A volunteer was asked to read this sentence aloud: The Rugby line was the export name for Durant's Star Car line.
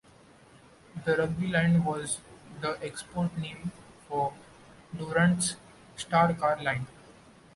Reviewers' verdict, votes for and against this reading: accepted, 2, 1